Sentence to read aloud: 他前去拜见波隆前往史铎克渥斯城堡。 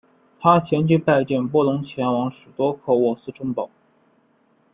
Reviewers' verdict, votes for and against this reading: accepted, 2, 0